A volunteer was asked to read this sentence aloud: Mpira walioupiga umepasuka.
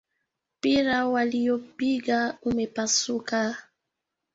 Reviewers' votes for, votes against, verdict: 1, 2, rejected